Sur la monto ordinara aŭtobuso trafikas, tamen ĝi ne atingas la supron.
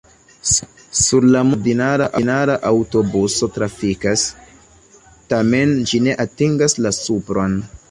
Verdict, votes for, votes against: rejected, 1, 2